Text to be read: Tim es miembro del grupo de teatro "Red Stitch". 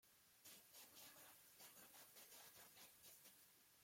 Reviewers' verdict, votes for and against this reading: rejected, 0, 2